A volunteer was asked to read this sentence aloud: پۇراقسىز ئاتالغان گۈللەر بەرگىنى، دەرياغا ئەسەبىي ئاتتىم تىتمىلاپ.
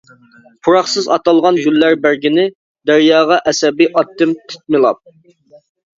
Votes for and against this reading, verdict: 2, 1, accepted